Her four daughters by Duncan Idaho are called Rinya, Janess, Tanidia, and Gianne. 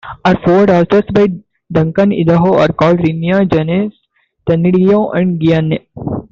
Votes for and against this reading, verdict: 0, 2, rejected